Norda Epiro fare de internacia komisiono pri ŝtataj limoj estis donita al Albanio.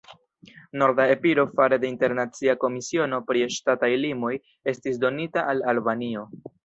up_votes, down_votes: 2, 1